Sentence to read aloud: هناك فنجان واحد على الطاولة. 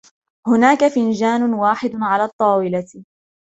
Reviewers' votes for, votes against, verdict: 2, 0, accepted